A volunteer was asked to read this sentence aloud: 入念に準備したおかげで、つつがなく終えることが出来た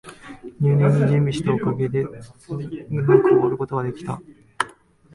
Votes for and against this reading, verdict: 1, 2, rejected